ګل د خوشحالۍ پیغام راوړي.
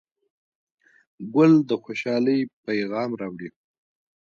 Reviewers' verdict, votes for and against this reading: accepted, 2, 1